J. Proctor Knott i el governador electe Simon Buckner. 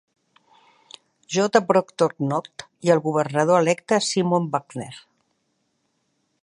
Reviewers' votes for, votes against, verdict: 2, 0, accepted